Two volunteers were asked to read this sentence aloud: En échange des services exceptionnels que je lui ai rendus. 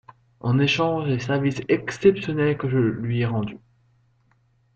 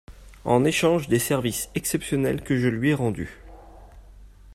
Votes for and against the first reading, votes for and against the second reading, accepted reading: 0, 2, 2, 0, second